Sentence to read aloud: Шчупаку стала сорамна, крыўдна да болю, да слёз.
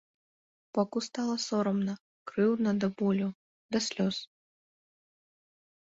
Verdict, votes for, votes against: rejected, 0, 2